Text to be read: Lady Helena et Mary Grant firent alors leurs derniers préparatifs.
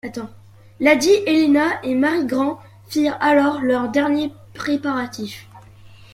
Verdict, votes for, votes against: rejected, 1, 2